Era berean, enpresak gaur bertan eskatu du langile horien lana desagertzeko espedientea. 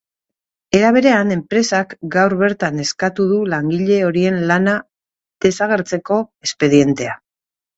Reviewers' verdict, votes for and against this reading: accepted, 3, 0